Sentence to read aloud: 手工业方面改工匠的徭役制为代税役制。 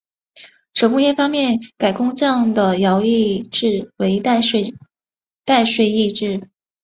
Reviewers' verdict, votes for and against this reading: rejected, 0, 3